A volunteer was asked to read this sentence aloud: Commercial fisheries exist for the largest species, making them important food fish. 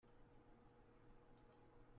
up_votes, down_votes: 0, 2